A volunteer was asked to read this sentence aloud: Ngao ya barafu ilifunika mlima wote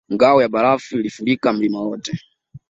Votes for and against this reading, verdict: 0, 2, rejected